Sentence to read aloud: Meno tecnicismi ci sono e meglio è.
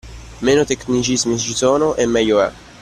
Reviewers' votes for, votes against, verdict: 2, 0, accepted